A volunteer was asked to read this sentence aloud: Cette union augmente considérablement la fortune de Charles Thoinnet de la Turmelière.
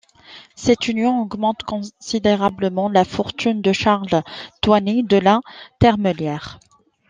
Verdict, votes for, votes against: rejected, 0, 2